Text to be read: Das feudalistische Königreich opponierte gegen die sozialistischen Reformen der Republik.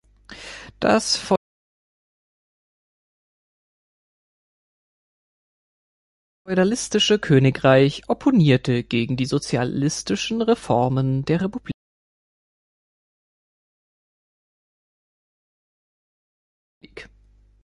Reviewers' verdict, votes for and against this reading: rejected, 0, 2